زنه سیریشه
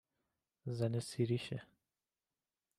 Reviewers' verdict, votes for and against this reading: accepted, 2, 0